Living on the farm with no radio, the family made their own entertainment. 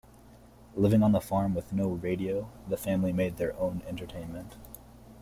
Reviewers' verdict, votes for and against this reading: accepted, 2, 0